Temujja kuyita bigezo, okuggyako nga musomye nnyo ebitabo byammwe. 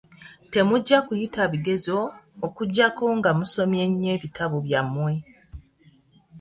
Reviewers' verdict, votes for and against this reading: accepted, 2, 0